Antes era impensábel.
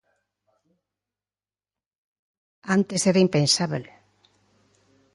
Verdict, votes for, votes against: accepted, 2, 0